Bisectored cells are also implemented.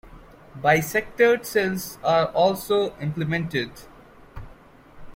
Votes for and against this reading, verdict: 2, 0, accepted